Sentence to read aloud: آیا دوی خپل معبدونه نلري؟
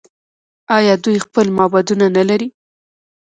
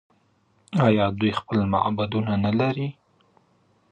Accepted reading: first